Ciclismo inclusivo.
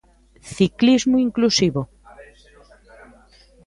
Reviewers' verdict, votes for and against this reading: rejected, 1, 2